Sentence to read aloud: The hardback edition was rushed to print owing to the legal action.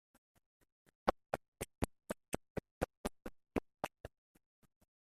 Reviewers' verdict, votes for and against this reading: rejected, 0, 2